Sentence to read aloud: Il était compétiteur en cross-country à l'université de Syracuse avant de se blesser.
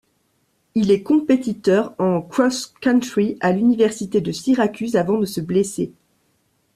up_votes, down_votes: 1, 2